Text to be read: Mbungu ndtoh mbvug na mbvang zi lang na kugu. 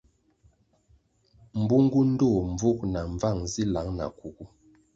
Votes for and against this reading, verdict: 2, 0, accepted